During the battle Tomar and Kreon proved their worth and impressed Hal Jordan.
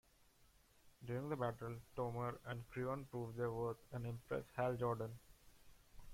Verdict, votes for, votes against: accepted, 2, 0